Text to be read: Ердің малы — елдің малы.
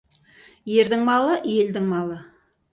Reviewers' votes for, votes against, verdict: 4, 0, accepted